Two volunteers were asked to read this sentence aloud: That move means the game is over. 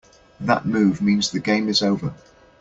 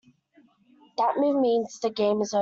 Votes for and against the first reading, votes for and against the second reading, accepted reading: 2, 0, 0, 2, first